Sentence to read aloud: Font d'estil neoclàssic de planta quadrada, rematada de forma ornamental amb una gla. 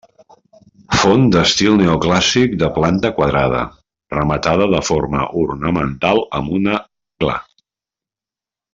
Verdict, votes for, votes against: accepted, 2, 0